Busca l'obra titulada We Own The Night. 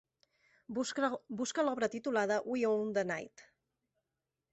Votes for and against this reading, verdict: 0, 3, rejected